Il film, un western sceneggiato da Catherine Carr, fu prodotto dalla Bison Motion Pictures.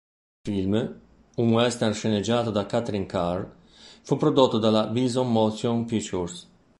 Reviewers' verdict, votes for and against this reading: rejected, 1, 2